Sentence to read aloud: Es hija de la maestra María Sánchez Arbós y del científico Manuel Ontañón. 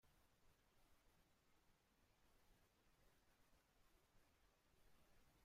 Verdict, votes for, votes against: rejected, 0, 2